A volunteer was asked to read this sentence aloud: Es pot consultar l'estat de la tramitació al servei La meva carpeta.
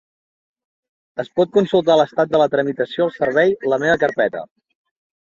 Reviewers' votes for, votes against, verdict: 2, 1, accepted